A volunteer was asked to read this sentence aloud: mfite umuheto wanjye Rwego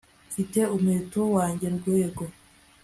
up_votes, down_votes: 2, 0